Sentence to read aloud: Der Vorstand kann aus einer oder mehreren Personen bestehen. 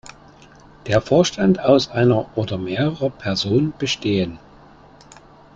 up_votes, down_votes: 0, 2